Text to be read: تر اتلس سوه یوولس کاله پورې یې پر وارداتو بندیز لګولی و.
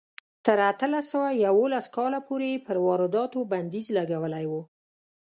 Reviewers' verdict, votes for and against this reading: accepted, 2, 0